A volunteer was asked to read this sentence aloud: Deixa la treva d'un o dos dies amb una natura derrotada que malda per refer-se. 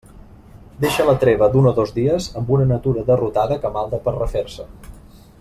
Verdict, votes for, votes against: accepted, 2, 0